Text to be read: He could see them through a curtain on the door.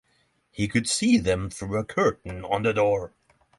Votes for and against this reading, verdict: 3, 0, accepted